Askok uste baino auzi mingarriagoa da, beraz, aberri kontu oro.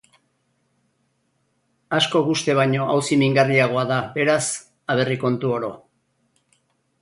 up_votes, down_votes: 4, 0